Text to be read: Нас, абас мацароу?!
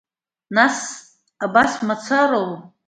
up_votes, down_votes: 2, 0